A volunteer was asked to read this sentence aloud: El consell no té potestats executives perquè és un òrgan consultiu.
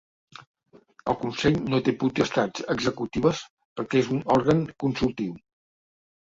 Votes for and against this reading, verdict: 2, 1, accepted